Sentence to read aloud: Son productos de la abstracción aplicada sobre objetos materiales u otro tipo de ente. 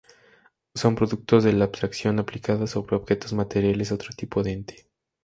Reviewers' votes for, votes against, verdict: 2, 0, accepted